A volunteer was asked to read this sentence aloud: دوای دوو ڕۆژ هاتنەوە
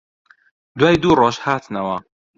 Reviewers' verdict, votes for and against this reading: rejected, 1, 2